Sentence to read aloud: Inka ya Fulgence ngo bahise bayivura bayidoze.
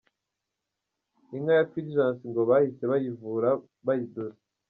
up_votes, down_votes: 0, 2